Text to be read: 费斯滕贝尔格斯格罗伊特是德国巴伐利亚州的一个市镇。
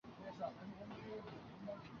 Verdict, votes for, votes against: accepted, 3, 2